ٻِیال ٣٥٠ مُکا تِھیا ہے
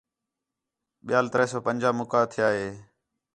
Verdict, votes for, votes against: rejected, 0, 2